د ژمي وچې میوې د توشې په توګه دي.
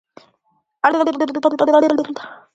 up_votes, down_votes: 1, 2